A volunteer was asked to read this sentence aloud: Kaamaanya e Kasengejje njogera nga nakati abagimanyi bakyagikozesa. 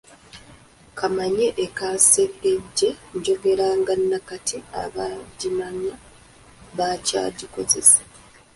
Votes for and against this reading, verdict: 0, 2, rejected